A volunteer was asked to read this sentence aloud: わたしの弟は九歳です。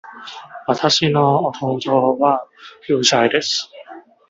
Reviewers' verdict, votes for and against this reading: rejected, 1, 2